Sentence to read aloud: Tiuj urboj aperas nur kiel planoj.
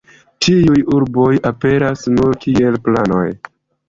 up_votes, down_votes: 2, 0